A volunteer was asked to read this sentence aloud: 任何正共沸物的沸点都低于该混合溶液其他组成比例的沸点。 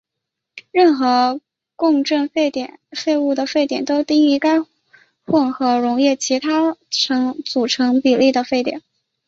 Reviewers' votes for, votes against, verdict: 0, 2, rejected